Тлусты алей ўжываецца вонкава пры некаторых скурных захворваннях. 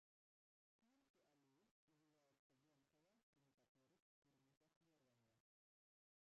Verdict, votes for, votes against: rejected, 0, 2